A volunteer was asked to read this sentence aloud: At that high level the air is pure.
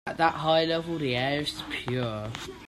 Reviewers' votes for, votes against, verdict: 2, 0, accepted